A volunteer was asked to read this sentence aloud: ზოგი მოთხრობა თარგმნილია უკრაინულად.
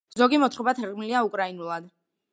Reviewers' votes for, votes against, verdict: 2, 1, accepted